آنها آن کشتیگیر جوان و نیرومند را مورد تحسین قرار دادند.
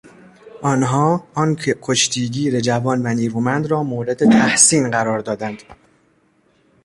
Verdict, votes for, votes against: rejected, 1, 2